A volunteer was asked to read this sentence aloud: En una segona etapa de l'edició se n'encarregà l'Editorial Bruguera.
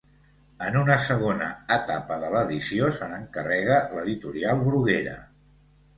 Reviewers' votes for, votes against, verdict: 1, 2, rejected